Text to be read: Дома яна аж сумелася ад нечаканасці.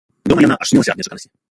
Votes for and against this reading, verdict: 0, 2, rejected